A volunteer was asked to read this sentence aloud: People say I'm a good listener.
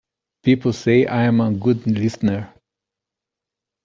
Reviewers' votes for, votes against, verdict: 3, 0, accepted